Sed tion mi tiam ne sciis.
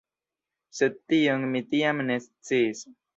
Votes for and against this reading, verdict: 0, 2, rejected